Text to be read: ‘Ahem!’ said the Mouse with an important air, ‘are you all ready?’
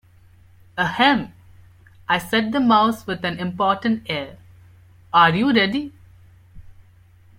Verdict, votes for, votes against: rejected, 1, 2